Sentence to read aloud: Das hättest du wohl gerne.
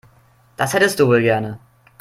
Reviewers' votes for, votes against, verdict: 2, 0, accepted